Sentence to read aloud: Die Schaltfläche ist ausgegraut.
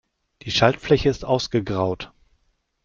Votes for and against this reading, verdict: 2, 0, accepted